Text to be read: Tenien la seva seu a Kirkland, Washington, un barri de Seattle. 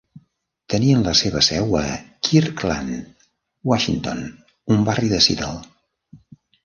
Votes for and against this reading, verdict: 0, 2, rejected